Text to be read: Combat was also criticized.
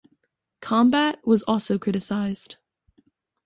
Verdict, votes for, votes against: accepted, 2, 0